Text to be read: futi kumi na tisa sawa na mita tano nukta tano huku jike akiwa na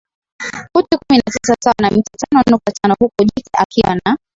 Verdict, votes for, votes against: accepted, 3, 2